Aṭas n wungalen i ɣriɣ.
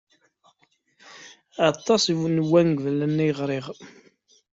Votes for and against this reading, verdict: 0, 2, rejected